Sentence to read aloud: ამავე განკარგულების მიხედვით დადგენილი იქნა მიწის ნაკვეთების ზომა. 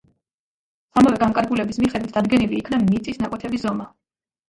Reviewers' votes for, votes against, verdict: 0, 2, rejected